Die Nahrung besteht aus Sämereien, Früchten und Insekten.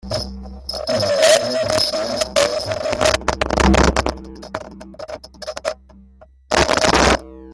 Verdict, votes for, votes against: rejected, 0, 2